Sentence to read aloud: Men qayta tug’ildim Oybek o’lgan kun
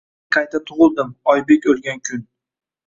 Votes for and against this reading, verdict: 1, 2, rejected